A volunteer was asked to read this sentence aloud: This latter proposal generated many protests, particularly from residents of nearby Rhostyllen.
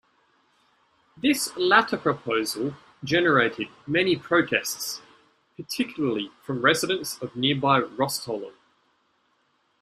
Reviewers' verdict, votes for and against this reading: accepted, 2, 0